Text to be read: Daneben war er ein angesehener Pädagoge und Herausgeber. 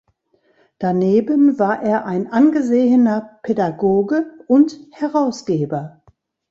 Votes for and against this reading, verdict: 2, 0, accepted